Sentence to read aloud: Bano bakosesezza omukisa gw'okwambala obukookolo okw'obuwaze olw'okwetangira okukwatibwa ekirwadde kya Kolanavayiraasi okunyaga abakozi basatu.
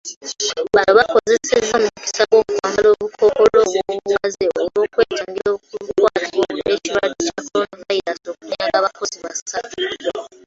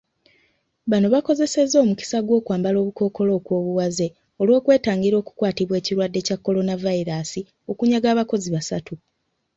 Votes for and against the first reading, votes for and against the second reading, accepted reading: 0, 2, 3, 0, second